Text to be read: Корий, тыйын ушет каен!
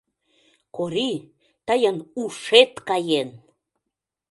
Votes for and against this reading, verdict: 2, 0, accepted